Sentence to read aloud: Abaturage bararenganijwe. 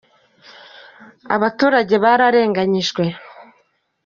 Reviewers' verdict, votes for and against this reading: accepted, 2, 0